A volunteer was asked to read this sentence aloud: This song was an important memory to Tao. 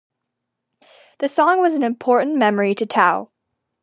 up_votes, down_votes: 2, 0